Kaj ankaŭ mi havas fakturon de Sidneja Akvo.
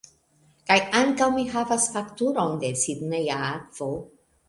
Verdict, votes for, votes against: accepted, 2, 0